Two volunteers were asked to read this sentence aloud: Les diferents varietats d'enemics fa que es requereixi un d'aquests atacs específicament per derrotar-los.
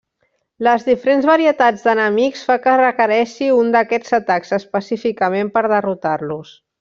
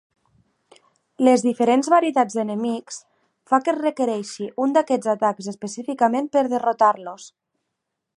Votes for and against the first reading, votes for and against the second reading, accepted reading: 1, 2, 2, 0, second